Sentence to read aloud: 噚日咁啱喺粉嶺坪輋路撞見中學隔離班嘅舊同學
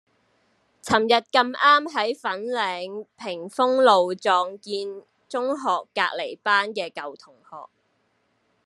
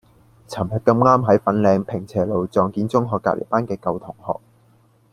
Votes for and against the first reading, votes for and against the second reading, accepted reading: 1, 2, 3, 0, second